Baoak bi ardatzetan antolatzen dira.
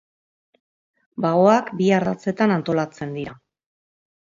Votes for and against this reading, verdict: 2, 0, accepted